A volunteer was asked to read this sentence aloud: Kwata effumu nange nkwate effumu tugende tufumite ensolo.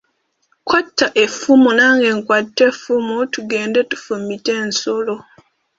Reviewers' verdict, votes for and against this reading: accepted, 2, 1